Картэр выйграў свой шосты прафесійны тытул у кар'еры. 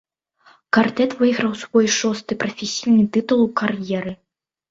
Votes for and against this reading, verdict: 1, 2, rejected